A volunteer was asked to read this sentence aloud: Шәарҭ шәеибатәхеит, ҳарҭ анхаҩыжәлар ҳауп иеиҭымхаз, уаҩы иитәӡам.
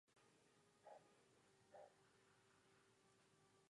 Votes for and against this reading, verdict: 1, 2, rejected